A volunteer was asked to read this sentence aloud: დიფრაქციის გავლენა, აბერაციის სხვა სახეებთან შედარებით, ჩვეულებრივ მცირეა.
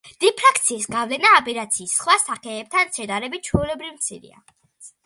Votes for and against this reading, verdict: 2, 0, accepted